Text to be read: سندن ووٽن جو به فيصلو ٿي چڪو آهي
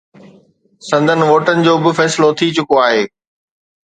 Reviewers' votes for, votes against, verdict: 3, 0, accepted